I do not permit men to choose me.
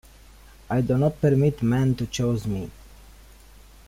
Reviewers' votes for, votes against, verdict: 0, 2, rejected